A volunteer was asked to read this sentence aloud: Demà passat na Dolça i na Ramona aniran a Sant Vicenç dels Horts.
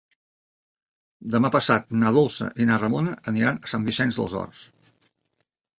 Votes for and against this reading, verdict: 2, 0, accepted